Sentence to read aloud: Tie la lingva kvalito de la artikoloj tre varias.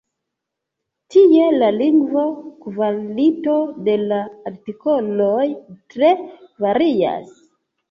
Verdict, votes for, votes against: rejected, 1, 2